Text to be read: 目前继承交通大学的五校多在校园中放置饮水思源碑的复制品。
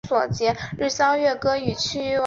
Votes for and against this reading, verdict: 0, 2, rejected